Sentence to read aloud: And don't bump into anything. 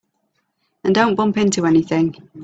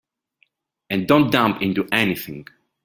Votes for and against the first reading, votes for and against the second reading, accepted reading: 3, 0, 2, 3, first